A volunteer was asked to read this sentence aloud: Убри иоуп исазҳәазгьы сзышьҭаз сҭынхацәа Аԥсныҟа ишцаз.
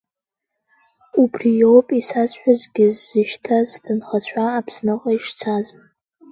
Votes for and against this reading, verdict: 1, 2, rejected